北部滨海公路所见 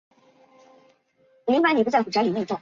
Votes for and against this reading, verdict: 1, 4, rejected